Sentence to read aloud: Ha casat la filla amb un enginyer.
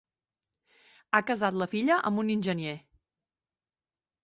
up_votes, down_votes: 0, 2